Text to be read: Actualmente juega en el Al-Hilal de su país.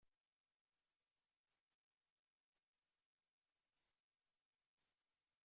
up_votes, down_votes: 0, 2